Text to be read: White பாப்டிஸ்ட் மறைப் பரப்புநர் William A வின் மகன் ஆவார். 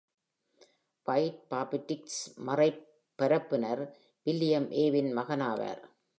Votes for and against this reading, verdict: 2, 0, accepted